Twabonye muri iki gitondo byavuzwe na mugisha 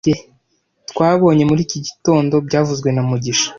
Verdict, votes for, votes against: rejected, 1, 2